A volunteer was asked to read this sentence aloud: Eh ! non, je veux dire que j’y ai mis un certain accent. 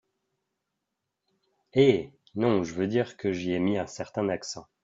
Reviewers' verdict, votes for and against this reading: accepted, 2, 0